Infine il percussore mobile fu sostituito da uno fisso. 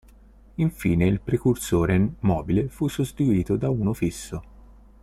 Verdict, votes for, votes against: rejected, 0, 2